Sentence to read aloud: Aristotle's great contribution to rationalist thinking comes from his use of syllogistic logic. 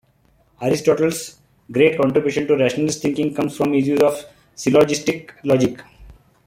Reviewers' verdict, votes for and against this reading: accepted, 2, 0